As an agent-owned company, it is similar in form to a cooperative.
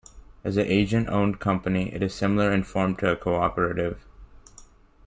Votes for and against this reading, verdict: 0, 2, rejected